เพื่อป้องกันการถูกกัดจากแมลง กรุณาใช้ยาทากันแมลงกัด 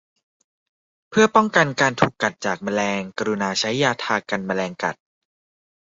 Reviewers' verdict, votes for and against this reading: accepted, 2, 0